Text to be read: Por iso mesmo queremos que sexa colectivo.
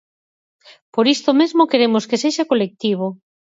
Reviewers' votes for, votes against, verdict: 0, 4, rejected